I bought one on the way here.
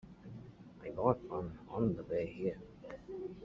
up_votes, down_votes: 2, 0